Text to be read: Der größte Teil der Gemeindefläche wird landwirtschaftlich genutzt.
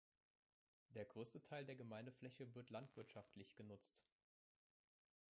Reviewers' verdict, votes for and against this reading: rejected, 1, 2